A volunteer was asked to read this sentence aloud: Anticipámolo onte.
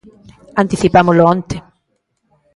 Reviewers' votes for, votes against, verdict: 2, 0, accepted